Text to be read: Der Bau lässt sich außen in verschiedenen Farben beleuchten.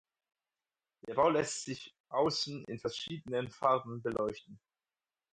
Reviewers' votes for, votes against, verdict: 4, 0, accepted